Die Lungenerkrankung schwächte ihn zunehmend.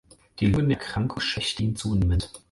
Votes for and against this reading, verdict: 4, 0, accepted